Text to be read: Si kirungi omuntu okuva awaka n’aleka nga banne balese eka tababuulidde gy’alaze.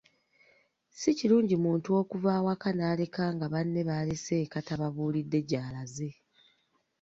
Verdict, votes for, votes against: rejected, 1, 2